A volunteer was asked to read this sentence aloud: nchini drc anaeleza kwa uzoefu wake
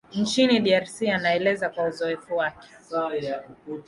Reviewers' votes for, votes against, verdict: 2, 0, accepted